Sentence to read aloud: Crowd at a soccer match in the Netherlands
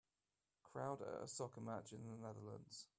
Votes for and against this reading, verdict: 1, 2, rejected